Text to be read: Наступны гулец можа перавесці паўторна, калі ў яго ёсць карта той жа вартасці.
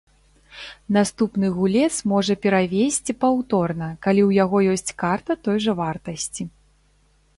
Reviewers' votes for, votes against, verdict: 2, 0, accepted